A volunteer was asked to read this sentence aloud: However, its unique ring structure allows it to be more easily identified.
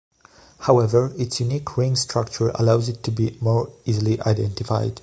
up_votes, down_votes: 2, 0